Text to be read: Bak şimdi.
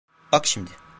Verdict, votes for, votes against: accepted, 2, 0